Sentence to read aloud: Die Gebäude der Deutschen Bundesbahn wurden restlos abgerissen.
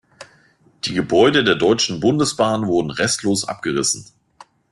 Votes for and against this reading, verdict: 2, 0, accepted